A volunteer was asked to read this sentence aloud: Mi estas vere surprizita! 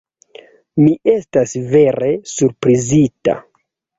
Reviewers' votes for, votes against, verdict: 2, 0, accepted